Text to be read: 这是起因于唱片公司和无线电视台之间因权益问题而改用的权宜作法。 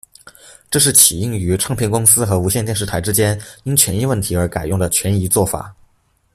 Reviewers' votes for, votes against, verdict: 2, 0, accepted